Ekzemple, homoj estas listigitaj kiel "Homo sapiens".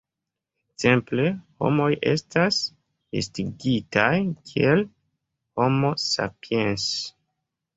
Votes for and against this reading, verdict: 3, 0, accepted